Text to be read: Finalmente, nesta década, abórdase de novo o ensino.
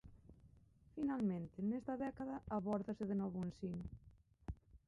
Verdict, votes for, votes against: rejected, 0, 2